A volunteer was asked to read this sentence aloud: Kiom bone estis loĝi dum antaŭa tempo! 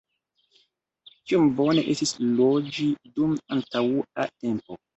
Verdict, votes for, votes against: rejected, 0, 2